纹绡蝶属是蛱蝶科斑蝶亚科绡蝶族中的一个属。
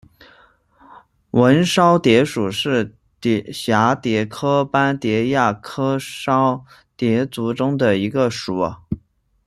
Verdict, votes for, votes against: rejected, 0, 2